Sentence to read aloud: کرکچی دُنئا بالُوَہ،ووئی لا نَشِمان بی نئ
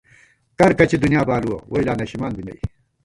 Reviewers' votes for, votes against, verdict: 0, 2, rejected